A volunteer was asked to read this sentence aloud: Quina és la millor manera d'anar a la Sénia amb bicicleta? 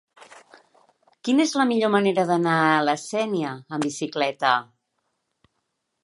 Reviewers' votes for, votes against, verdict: 2, 0, accepted